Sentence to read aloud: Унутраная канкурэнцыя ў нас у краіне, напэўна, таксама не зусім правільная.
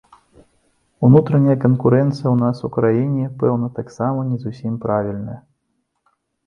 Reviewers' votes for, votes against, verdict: 1, 2, rejected